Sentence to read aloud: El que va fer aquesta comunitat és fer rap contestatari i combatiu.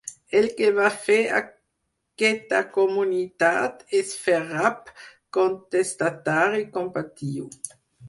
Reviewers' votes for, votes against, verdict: 0, 4, rejected